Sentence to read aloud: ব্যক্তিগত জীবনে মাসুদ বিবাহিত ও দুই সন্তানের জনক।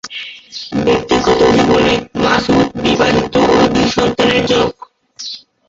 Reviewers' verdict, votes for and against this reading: rejected, 2, 2